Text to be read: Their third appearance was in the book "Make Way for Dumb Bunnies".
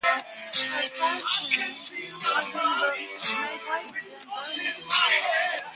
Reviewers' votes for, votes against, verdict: 0, 2, rejected